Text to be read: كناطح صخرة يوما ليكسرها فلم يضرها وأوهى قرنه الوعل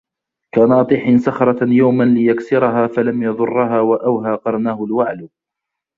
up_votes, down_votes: 2, 0